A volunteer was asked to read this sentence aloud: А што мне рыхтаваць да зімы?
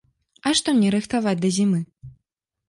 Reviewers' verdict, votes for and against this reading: accepted, 2, 0